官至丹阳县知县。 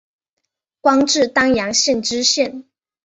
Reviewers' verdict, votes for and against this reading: accepted, 6, 0